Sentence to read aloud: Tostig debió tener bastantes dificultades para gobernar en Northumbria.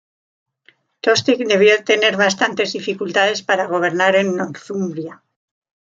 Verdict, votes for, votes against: rejected, 1, 2